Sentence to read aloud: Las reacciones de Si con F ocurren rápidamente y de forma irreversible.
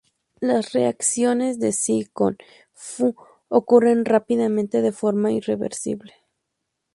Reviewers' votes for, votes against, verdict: 0, 2, rejected